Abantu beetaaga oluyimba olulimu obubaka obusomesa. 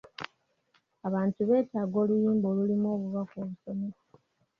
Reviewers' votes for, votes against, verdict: 2, 0, accepted